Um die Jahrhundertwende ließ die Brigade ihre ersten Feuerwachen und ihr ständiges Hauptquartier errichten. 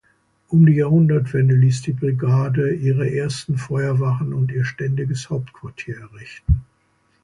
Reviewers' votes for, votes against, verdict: 2, 0, accepted